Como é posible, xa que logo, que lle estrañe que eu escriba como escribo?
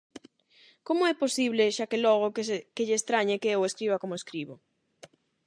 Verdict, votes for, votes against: rejected, 0, 8